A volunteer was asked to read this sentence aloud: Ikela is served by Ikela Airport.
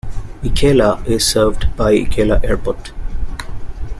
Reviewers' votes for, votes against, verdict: 2, 0, accepted